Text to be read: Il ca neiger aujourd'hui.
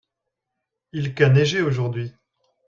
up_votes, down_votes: 2, 1